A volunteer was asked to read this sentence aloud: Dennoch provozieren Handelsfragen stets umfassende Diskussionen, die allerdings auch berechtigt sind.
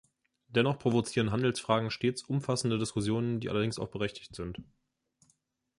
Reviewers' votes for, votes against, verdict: 2, 0, accepted